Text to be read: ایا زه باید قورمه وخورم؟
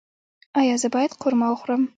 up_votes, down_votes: 1, 2